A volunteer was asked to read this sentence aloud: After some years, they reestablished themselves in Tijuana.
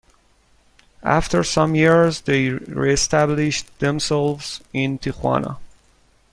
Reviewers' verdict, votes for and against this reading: accepted, 2, 0